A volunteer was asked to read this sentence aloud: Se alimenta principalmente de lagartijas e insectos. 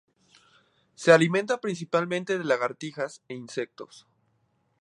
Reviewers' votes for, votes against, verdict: 2, 0, accepted